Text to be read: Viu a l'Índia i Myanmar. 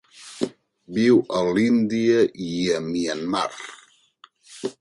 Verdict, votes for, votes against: rejected, 1, 2